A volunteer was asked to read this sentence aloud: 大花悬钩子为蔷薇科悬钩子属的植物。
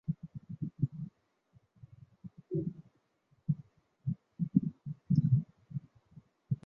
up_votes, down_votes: 3, 4